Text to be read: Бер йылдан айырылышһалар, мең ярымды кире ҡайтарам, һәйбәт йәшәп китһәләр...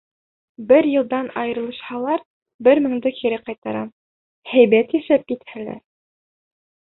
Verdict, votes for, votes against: rejected, 0, 2